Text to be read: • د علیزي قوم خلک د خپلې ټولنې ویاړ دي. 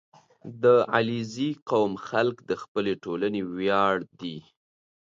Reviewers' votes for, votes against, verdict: 2, 0, accepted